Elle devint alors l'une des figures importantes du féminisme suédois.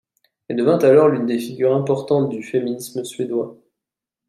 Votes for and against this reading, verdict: 2, 0, accepted